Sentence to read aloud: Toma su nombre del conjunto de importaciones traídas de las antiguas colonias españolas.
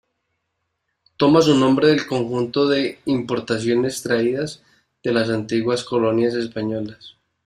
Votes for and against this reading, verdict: 2, 0, accepted